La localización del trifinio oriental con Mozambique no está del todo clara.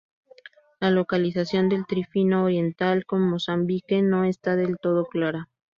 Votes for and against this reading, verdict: 0, 2, rejected